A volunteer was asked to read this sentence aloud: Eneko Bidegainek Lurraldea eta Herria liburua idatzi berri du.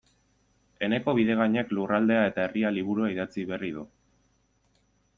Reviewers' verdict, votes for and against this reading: accepted, 2, 0